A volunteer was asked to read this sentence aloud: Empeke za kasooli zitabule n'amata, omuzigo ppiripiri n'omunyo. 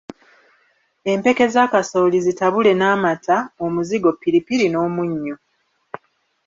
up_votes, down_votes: 1, 2